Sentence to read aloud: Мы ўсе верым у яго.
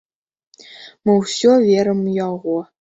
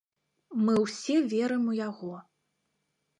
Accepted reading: second